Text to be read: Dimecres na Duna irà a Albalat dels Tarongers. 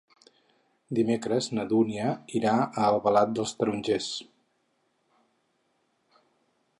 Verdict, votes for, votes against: rejected, 2, 4